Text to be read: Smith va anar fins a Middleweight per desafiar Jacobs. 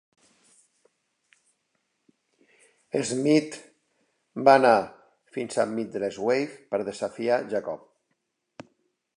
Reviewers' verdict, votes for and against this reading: rejected, 2, 3